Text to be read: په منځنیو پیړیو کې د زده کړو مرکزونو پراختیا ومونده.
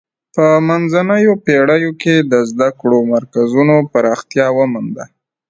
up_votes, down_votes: 2, 1